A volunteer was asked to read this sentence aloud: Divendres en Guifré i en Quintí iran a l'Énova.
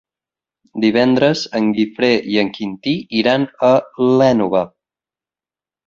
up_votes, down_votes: 4, 0